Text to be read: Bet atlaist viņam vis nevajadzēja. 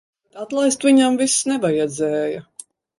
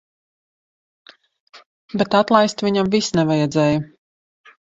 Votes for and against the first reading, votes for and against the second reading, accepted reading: 0, 2, 2, 0, second